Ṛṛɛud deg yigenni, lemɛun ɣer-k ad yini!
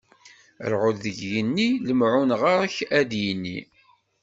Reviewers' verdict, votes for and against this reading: accepted, 2, 0